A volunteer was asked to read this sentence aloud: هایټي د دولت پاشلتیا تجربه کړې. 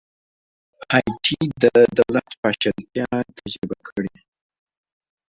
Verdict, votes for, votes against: accepted, 2, 0